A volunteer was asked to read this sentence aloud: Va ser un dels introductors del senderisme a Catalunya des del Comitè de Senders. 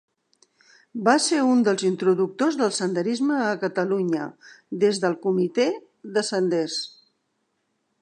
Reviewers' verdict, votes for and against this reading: accepted, 2, 0